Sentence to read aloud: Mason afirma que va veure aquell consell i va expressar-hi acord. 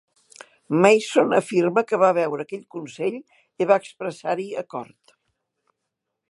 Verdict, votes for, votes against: accepted, 3, 0